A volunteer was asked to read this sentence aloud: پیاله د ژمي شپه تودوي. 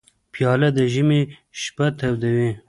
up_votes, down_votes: 0, 2